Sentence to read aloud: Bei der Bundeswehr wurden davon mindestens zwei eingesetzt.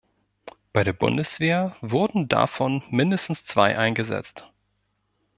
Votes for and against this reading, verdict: 2, 0, accepted